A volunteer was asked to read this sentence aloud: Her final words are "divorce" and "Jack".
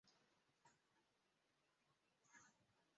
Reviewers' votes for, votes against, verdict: 0, 3, rejected